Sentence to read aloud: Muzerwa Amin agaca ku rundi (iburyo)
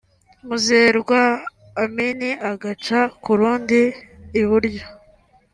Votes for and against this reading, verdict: 2, 0, accepted